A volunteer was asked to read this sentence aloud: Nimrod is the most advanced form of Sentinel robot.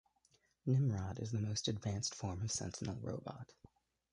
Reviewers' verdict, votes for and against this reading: accepted, 2, 1